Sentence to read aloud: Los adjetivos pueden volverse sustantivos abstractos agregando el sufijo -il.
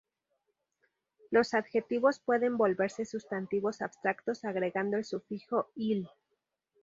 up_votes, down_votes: 2, 0